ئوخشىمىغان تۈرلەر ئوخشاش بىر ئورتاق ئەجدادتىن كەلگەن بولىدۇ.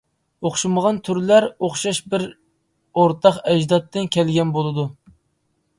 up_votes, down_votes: 2, 0